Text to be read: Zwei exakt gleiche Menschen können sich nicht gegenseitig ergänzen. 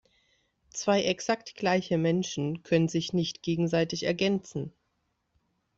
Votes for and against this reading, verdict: 2, 0, accepted